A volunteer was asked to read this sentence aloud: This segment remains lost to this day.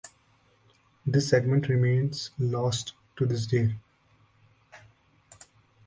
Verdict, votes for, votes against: accepted, 2, 0